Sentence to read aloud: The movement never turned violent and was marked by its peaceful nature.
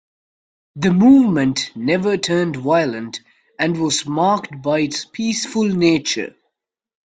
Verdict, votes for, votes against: accepted, 2, 0